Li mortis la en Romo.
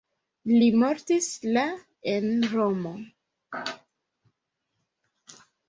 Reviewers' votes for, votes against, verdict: 2, 1, accepted